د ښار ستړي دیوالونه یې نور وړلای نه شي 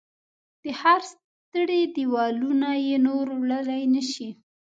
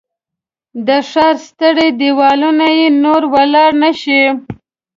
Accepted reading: second